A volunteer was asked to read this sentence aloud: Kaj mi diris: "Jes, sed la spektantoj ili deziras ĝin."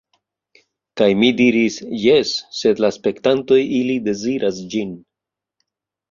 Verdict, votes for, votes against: accepted, 2, 1